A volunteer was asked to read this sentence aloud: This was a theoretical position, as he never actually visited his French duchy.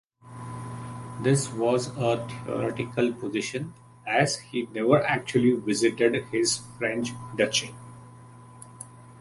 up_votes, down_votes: 3, 0